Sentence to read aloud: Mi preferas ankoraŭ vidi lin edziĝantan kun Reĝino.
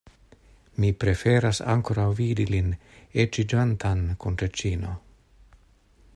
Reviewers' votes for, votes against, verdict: 1, 2, rejected